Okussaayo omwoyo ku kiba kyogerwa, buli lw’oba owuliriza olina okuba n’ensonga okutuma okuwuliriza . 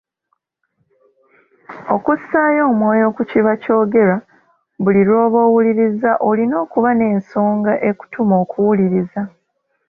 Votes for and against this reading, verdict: 2, 1, accepted